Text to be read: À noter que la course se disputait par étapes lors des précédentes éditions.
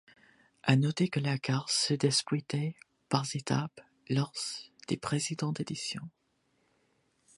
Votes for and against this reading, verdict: 1, 2, rejected